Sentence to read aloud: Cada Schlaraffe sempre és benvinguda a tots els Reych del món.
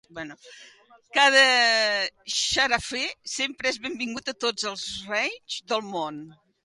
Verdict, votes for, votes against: rejected, 0, 2